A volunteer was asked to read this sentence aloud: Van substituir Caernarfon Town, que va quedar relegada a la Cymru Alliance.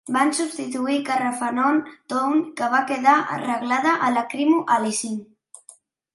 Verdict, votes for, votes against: rejected, 1, 2